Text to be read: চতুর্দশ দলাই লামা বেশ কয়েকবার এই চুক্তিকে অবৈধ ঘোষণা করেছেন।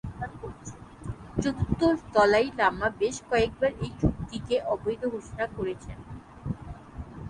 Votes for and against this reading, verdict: 0, 6, rejected